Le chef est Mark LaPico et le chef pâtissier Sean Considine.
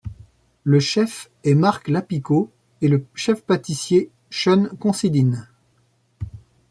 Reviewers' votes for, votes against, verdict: 0, 2, rejected